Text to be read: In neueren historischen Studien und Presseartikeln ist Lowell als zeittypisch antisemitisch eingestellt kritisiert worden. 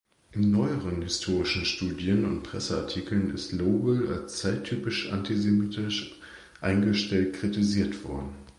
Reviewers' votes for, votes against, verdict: 2, 0, accepted